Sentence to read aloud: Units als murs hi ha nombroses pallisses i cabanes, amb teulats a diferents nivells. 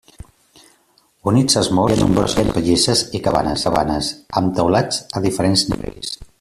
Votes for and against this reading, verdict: 0, 2, rejected